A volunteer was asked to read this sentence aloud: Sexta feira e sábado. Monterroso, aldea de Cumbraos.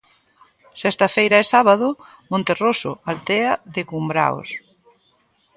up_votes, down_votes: 2, 0